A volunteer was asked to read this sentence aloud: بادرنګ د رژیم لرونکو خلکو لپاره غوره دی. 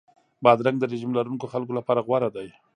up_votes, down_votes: 1, 2